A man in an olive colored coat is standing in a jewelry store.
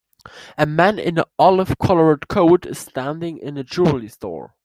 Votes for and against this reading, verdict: 2, 1, accepted